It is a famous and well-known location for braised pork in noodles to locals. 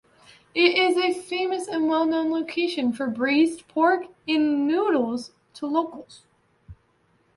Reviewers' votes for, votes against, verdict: 2, 0, accepted